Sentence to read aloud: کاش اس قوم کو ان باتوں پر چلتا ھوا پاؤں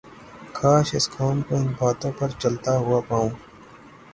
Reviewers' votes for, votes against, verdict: 3, 3, rejected